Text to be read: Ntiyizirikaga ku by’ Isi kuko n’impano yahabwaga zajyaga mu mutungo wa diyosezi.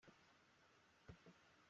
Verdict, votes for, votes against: rejected, 0, 3